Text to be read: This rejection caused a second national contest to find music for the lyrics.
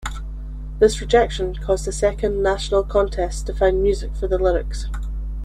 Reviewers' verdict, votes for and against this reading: accepted, 2, 0